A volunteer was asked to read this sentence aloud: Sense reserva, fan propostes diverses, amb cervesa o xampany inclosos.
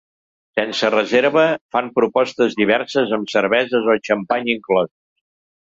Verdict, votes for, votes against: rejected, 1, 2